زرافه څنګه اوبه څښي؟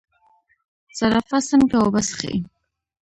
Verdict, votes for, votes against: rejected, 0, 2